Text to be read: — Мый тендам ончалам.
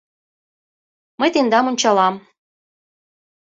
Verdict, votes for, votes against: accepted, 2, 0